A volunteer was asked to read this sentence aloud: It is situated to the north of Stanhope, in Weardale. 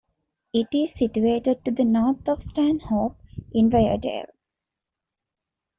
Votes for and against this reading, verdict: 0, 2, rejected